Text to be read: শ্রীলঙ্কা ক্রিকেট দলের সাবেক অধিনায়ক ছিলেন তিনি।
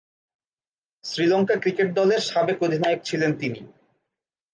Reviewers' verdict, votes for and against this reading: accepted, 10, 0